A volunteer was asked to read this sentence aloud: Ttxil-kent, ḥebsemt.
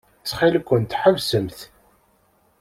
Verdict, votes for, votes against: accepted, 2, 0